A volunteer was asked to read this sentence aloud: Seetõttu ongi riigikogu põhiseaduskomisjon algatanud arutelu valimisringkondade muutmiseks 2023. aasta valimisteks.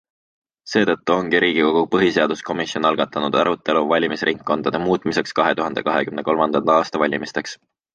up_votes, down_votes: 0, 2